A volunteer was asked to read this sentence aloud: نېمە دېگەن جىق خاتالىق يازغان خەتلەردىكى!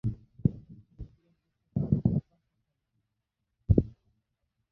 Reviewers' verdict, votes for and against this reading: rejected, 0, 2